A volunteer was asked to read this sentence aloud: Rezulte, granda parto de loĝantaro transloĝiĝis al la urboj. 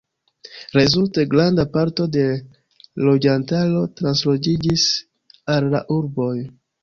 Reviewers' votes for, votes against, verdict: 2, 0, accepted